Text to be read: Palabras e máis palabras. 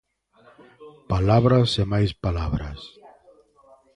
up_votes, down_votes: 2, 1